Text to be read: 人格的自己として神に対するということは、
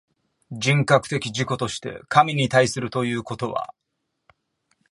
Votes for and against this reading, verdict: 2, 0, accepted